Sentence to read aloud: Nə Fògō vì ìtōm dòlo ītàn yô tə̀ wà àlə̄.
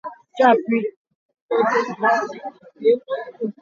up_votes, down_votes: 0, 2